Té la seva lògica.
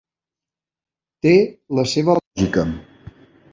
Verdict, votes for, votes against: rejected, 0, 2